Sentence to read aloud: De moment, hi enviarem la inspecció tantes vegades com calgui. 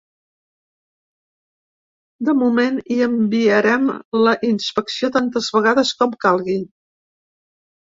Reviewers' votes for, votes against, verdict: 2, 0, accepted